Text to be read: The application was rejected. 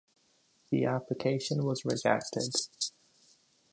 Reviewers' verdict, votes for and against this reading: rejected, 1, 2